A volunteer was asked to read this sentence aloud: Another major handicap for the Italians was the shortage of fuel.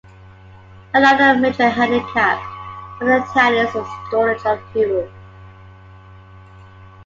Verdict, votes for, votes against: accepted, 2, 1